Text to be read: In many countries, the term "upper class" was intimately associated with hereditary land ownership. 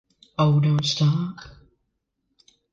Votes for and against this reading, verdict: 0, 2, rejected